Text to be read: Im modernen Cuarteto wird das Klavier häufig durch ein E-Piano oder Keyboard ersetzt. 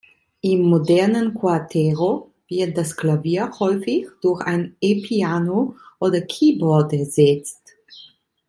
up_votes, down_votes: 0, 2